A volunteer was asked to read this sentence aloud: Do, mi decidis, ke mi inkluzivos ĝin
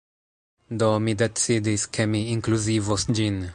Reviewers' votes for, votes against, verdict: 2, 0, accepted